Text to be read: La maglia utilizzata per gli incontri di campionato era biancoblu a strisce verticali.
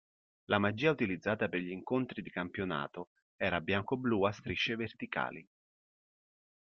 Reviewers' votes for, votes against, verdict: 0, 2, rejected